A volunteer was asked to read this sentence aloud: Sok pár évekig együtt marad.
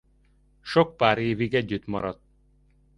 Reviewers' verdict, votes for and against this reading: rejected, 0, 2